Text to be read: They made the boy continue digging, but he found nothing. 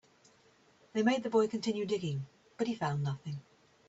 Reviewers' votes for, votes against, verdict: 2, 0, accepted